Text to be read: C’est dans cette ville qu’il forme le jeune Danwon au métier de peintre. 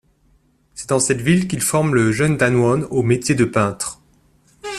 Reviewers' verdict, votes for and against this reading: accepted, 2, 0